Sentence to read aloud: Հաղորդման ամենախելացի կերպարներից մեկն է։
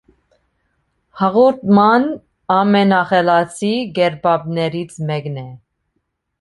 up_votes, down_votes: 1, 2